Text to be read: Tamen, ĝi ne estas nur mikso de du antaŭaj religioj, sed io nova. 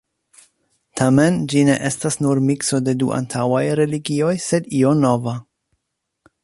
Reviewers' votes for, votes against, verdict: 2, 0, accepted